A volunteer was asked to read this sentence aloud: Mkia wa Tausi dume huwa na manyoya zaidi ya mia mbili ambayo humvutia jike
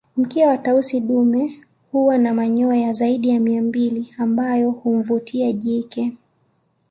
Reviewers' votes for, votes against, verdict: 2, 0, accepted